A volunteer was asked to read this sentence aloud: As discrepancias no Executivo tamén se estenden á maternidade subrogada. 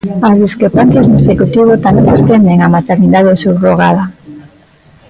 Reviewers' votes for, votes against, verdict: 0, 2, rejected